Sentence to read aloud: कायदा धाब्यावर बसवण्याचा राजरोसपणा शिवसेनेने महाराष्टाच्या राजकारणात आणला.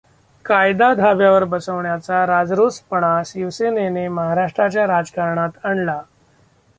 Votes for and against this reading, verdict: 1, 2, rejected